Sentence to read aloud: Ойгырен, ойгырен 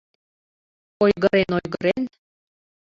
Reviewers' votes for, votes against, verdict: 2, 1, accepted